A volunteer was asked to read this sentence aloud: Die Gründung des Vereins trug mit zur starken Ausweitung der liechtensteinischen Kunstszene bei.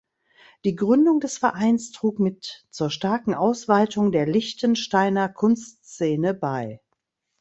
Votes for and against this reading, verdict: 0, 2, rejected